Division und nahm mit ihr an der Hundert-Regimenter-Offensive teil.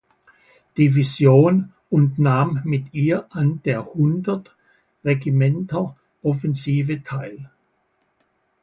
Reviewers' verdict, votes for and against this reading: accepted, 2, 0